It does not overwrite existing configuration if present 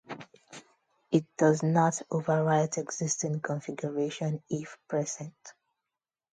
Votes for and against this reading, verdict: 0, 2, rejected